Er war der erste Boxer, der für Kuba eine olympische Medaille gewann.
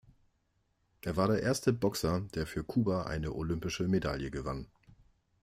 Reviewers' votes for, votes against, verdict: 2, 0, accepted